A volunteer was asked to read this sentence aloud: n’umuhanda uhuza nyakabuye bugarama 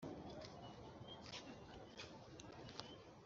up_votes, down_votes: 1, 2